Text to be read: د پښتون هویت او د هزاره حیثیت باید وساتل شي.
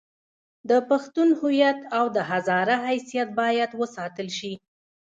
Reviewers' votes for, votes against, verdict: 1, 2, rejected